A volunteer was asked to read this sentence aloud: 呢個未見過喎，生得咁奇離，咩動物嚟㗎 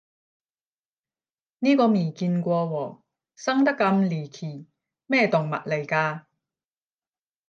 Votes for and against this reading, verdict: 0, 10, rejected